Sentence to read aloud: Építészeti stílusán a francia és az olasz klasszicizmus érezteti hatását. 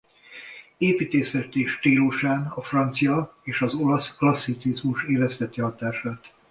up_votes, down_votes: 2, 0